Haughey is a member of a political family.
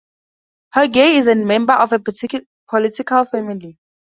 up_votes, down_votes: 2, 2